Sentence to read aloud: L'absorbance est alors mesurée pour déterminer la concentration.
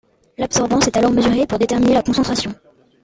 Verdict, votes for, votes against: accepted, 3, 0